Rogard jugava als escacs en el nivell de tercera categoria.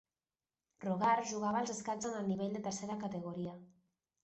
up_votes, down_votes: 2, 0